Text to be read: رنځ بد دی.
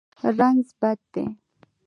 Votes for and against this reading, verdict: 1, 2, rejected